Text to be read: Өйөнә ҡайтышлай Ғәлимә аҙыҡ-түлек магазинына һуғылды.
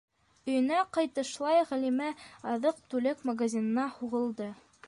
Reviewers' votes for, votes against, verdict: 2, 0, accepted